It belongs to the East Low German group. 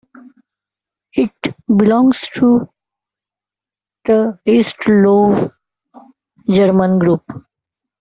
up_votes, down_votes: 2, 0